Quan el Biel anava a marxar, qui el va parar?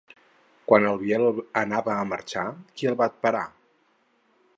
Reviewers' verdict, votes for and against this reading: rejected, 2, 2